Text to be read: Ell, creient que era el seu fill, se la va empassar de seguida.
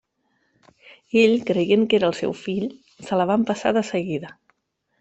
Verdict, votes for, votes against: accepted, 2, 0